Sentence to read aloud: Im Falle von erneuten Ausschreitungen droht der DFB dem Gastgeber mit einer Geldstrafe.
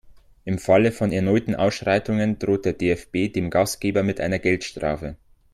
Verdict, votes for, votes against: accepted, 2, 0